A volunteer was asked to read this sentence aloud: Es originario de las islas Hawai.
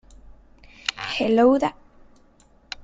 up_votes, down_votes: 0, 2